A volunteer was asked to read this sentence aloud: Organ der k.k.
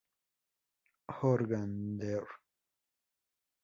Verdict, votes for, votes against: rejected, 0, 2